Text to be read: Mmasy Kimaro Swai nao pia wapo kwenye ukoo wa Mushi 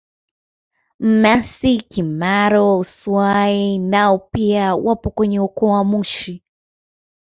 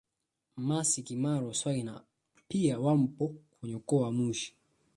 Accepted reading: first